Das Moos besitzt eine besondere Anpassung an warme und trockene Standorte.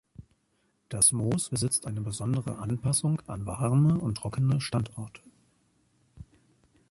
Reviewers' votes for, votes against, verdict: 2, 0, accepted